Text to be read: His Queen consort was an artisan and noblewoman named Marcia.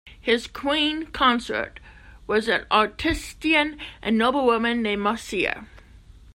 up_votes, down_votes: 0, 2